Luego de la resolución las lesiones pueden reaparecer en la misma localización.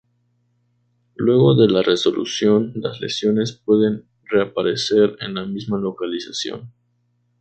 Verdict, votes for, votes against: rejected, 2, 2